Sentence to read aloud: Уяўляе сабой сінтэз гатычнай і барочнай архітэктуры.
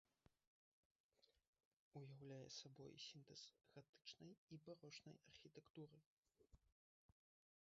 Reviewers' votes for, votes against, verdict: 0, 2, rejected